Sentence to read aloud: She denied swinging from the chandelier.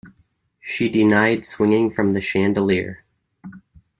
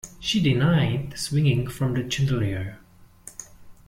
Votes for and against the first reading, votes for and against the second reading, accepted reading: 2, 0, 0, 2, first